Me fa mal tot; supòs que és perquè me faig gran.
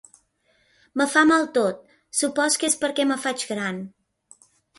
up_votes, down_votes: 2, 0